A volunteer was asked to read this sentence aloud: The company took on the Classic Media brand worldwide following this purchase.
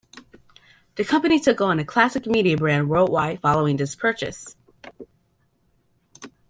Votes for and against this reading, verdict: 2, 0, accepted